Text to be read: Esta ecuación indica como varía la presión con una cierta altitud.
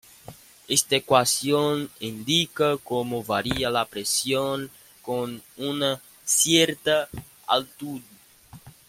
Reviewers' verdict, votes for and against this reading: rejected, 1, 2